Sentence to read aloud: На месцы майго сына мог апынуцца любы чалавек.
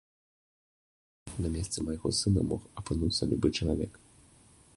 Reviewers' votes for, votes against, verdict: 2, 0, accepted